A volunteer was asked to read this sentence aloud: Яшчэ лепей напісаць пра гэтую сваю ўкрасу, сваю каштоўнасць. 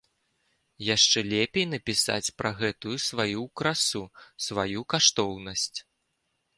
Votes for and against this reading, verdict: 1, 2, rejected